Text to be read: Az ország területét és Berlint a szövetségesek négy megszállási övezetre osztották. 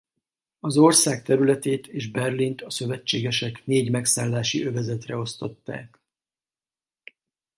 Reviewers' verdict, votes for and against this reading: accepted, 4, 0